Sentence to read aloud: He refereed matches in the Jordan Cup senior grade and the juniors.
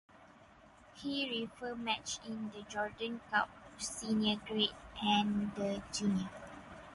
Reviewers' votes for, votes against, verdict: 0, 4, rejected